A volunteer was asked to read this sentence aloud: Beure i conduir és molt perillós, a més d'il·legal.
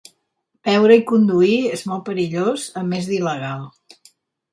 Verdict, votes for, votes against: accepted, 4, 0